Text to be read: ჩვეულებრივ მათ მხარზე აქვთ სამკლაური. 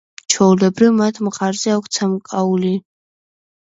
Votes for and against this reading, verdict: 1, 2, rejected